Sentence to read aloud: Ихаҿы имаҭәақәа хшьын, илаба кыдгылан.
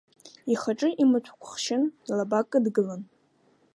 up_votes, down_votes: 2, 1